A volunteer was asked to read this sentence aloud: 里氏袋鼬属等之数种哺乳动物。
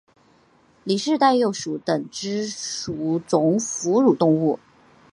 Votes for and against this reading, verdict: 1, 2, rejected